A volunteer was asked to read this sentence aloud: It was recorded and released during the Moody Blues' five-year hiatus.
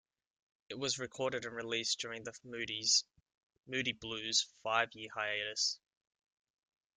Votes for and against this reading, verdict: 1, 3, rejected